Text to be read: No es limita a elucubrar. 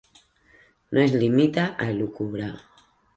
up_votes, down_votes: 2, 0